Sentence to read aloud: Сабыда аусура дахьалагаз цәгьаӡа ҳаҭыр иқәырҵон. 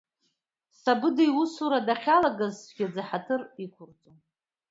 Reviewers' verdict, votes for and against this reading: rejected, 0, 2